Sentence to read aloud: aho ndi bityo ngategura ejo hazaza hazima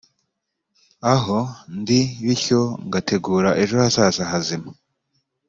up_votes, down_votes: 2, 0